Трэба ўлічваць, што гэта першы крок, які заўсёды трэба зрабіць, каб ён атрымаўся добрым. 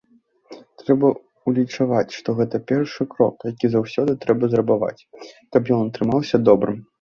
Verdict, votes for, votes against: rejected, 0, 2